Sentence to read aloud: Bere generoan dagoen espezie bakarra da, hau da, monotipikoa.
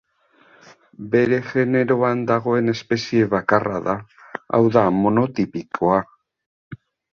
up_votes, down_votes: 0, 2